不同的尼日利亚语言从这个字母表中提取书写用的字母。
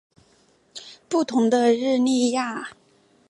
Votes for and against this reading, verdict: 0, 4, rejected